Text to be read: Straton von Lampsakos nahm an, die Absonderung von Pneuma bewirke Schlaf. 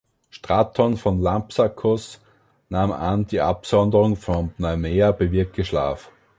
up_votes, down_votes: 0, 2